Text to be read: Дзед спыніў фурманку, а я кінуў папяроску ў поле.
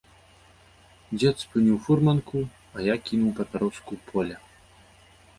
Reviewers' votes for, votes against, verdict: 0, 2, rejected